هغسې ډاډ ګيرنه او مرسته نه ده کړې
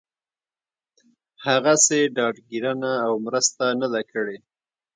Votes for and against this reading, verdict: 2, 0, accepted